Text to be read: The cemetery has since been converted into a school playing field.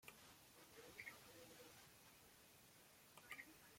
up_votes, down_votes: 1, 2